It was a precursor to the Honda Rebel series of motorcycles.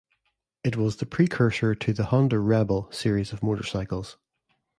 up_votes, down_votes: 2, 0